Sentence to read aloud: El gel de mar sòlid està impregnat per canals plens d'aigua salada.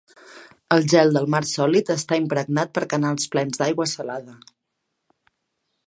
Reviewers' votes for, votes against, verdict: 1, 2, rejected